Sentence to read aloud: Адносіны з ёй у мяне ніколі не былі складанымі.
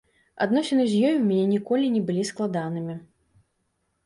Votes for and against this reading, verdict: 2, 0, accepted